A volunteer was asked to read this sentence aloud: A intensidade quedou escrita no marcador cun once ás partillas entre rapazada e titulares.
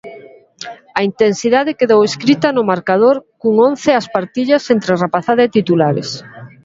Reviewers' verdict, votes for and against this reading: accepted, 2, 0